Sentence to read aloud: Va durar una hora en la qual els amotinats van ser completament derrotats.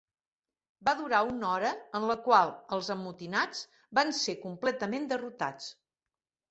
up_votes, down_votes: 4, 0